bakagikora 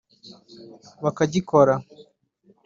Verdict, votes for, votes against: accepted, 2, 1